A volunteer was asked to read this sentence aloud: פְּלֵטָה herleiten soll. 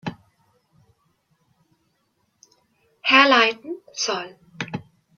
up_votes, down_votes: 0, 2